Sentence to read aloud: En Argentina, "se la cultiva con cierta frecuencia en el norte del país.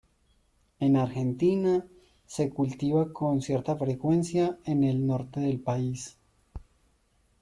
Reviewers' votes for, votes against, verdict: 0, 2, rejected